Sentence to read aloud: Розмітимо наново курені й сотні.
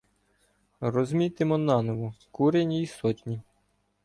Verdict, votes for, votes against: rejected, 1, 2